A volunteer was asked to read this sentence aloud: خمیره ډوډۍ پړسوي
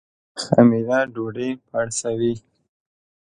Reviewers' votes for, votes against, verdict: 2, 0, accepted